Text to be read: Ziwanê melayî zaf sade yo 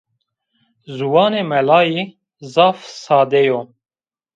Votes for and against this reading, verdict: 1, 2, rejected